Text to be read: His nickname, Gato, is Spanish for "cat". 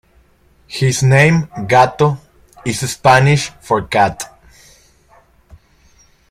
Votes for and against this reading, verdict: 0, 2, rejected